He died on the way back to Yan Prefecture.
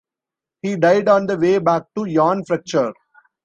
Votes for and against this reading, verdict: 1, 2, rejected